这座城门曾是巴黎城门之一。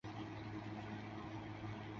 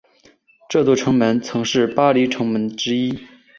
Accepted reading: second